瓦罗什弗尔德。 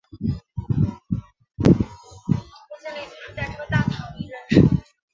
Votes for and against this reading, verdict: 1, 2, rejected